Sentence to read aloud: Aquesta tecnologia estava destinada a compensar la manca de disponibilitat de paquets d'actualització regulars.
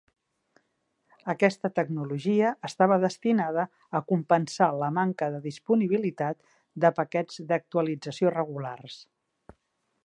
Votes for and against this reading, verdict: 3, 0, accepted